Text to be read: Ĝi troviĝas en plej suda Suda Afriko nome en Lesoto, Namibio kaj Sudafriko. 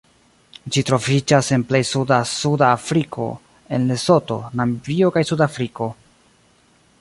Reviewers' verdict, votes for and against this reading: rejected, 0, 2